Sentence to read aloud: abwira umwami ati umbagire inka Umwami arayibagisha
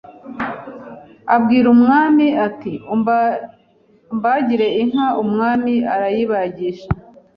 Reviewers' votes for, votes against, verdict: 1, 2, rejected